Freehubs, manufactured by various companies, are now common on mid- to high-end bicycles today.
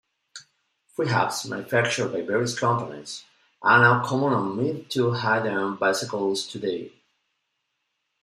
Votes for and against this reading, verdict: 2, 1, accepted